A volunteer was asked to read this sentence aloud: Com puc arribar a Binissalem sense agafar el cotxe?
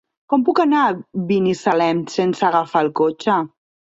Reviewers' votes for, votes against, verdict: 1, 2, rejected